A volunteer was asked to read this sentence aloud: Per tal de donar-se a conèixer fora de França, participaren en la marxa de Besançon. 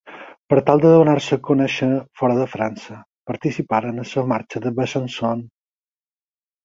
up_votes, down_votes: 2, 4